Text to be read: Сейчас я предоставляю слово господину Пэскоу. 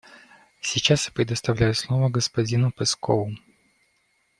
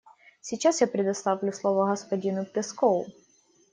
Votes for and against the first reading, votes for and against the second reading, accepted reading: 2, 0, 1, 2, first